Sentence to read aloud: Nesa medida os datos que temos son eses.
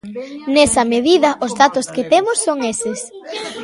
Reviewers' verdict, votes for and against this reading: accepted, 2, 0